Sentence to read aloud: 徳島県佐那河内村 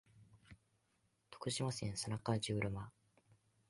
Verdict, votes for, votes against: accepted, 4, 2